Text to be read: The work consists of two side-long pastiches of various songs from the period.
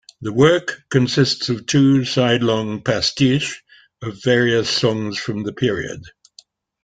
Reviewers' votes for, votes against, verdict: 2, 0, accepted